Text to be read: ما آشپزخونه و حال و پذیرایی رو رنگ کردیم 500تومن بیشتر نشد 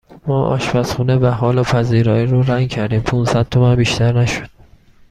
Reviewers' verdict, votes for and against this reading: rejected, 0, 2